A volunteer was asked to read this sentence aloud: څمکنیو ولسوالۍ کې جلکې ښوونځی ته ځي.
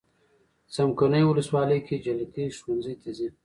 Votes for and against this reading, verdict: 1, 2, rejected